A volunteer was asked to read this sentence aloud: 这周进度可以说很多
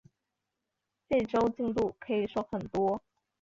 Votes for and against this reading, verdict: 0, 2, rejected